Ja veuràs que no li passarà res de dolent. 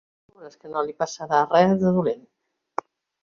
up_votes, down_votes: 0, 2